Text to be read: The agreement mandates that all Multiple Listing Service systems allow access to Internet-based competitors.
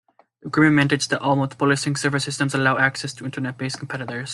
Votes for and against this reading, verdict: 0, 2, rejected